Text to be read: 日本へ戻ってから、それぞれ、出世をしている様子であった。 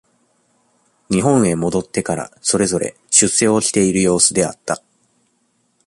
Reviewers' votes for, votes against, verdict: 2, 0, accepted